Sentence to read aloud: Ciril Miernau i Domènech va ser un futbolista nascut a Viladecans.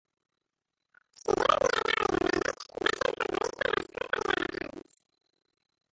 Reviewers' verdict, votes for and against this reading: rejected, 0, 2